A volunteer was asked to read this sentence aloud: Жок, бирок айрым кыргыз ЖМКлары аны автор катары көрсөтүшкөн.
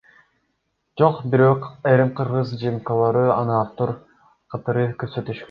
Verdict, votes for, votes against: rejected, 0, 2